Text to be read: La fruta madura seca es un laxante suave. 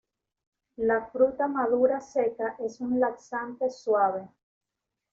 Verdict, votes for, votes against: rejected, 1, 2